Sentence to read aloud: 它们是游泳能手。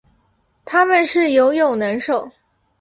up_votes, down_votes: 4, 0